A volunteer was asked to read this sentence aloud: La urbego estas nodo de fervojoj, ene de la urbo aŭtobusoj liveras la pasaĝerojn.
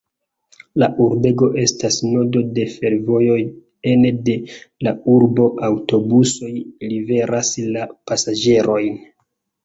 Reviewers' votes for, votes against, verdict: 1, 2, rejected